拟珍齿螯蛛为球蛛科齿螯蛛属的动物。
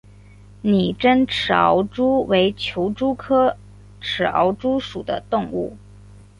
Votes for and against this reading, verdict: 1, 2, rejected